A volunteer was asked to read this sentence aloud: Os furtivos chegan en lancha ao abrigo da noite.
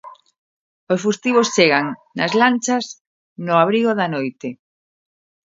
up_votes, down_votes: 0, 2